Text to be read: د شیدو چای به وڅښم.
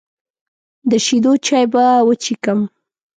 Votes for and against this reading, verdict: 2, 0, accepted